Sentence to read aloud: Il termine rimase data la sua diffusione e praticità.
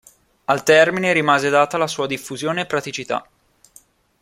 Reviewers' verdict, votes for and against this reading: rejected, 1, 2